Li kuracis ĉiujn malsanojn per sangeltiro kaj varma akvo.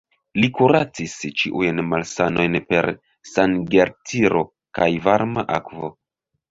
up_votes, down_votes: 1, 2